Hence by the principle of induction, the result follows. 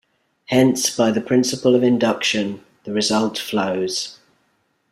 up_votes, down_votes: 0, 2